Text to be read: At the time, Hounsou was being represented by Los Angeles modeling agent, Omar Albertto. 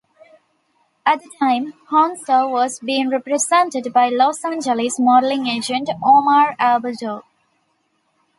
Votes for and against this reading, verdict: 2, 1, accepted